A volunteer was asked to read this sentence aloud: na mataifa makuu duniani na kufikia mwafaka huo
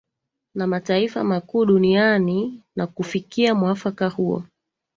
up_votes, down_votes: 3, 2